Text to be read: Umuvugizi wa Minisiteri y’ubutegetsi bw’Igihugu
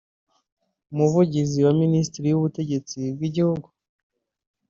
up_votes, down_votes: 2, 1